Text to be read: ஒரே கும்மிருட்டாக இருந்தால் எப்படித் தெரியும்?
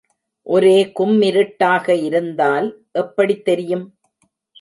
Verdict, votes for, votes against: accepted, 2, 0